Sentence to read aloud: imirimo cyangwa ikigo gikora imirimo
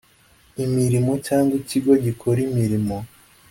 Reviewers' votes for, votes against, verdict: 2, 0, accepted